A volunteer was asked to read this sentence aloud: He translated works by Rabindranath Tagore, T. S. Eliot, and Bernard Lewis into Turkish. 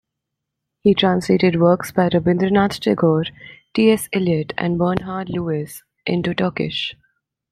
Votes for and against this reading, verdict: 2, 0, accepted